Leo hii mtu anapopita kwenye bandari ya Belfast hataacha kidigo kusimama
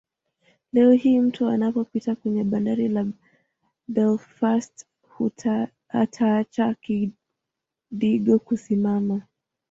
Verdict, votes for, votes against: rejected, 1, 2